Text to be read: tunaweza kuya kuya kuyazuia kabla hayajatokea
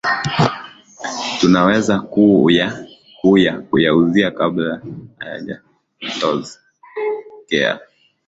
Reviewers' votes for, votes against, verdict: 10, 5, accepted